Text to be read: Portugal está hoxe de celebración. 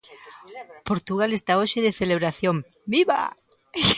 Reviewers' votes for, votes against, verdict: 0, 2, rejected